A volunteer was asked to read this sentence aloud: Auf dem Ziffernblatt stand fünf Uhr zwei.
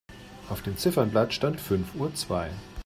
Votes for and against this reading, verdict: 2, 0, accepted